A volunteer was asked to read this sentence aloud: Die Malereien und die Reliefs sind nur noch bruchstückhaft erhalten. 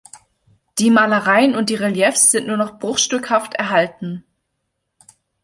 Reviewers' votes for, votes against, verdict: 2, 0, accepted